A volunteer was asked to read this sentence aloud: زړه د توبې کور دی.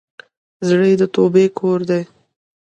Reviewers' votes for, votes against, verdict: 2, 0, accepted